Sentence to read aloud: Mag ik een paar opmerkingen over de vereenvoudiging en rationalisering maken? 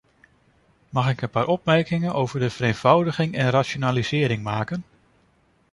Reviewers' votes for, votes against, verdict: 2, 0, accepted